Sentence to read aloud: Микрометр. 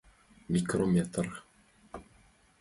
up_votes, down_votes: 2, 0